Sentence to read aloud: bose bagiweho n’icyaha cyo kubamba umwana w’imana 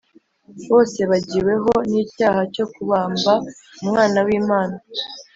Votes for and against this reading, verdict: 3, 0, accepted